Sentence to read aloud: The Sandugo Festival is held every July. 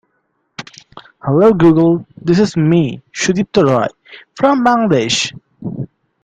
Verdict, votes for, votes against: rejected, 0, 2